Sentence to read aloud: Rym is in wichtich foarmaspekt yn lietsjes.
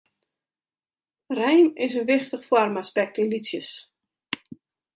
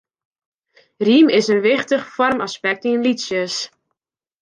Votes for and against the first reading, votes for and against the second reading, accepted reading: 0, 2, 2, 1, second